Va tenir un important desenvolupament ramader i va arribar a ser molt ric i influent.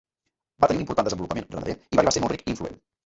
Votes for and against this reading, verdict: 0, 3, rejected